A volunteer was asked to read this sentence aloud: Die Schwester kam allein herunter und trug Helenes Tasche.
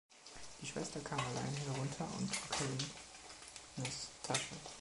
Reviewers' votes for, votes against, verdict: 0, 2, rejected